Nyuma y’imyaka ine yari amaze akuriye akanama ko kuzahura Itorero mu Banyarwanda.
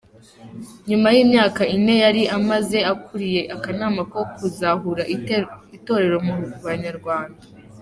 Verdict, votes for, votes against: rejected, 1, 2